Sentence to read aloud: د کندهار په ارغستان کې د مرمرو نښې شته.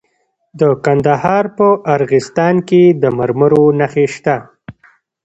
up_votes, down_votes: 2, 0